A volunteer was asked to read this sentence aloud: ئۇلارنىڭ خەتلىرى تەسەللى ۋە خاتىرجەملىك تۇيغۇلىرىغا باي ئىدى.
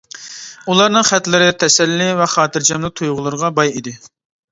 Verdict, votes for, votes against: accepted, 2, 0